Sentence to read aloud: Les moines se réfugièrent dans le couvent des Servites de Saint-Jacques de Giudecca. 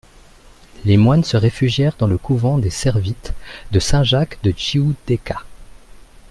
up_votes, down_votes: 1, 2